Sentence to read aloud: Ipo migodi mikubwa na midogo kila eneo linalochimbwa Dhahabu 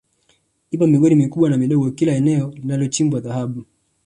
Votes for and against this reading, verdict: 3, 1, accepted